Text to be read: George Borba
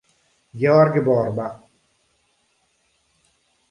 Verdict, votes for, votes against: rejected, 1, 2